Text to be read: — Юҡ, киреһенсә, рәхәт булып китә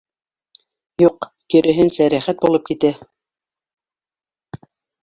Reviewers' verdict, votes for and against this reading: rejected, 1, 2